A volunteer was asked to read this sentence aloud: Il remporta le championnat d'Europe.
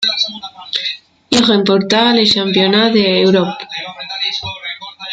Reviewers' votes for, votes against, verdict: 1, 2, rejected